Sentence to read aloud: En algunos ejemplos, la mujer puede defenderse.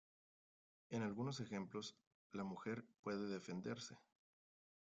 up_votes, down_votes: 1, 2